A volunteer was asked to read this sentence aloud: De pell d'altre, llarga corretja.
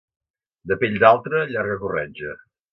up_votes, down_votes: 2, 0